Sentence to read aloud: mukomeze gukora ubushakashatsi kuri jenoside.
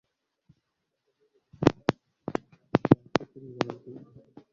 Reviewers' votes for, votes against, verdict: 1, 2, rejected